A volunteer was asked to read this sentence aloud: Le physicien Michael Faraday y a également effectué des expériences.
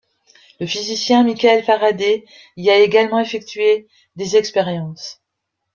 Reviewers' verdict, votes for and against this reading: rejected, 2, 3